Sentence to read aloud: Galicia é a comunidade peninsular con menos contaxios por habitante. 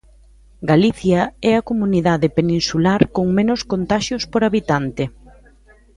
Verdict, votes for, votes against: accepted, 2, 0